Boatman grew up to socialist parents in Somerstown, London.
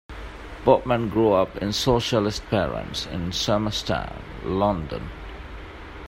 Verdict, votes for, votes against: rejected, 0, 2